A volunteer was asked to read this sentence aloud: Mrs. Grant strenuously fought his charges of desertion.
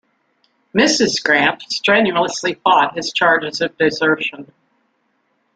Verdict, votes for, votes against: rejected, 0, 2